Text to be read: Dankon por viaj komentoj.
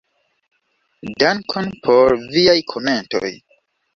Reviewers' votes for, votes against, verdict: 2, 0, accepted